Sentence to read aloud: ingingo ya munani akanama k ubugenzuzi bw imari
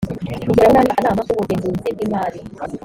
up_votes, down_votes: 2, 1